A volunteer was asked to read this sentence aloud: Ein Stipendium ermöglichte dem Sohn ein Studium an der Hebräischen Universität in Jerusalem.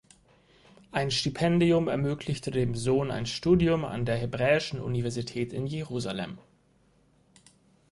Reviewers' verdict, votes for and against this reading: accepted, 4, 0